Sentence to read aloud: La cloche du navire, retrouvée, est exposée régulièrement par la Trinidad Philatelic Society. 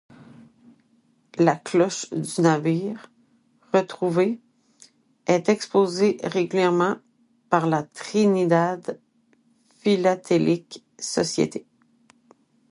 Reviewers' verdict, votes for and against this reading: rejected, 0, 2